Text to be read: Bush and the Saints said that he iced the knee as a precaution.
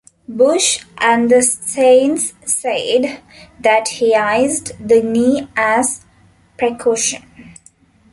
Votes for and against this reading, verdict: 0, 2, rejected